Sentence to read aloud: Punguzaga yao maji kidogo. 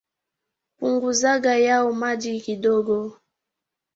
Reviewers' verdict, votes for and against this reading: accepted, 3, 1